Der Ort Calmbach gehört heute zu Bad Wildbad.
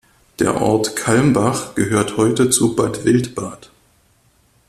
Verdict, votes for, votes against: accepted, 2, 0